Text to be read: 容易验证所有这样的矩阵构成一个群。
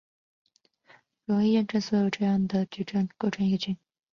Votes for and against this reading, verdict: 4, 2, accepted